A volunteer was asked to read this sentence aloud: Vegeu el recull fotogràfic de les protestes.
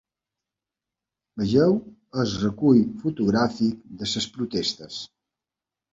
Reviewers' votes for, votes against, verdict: 0, 2, rejected